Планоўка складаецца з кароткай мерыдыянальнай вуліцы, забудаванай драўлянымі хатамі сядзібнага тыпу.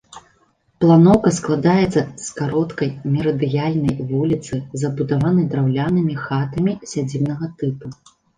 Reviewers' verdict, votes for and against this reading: rejected, 1, 2